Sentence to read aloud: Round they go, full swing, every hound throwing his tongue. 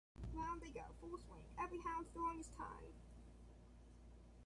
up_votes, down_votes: 2, 0